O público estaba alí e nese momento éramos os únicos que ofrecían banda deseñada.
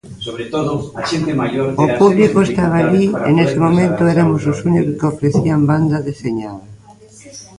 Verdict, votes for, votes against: rejected, 0, 2